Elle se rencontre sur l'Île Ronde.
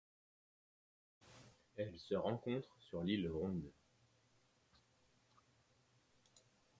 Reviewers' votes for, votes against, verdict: 0, 2, rejected